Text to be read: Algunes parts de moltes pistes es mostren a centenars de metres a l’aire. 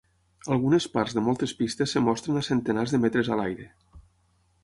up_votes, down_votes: 0, 6